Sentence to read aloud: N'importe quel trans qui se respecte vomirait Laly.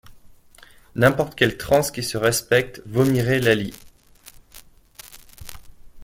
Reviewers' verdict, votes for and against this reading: accepted, 2, 0